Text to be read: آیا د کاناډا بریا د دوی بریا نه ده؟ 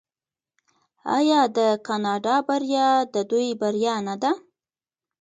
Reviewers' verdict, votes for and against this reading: rejected, 1, 2